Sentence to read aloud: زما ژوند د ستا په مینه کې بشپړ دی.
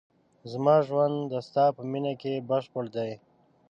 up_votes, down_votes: 2, 0